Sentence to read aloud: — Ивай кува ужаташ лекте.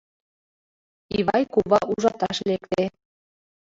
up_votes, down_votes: 2, 0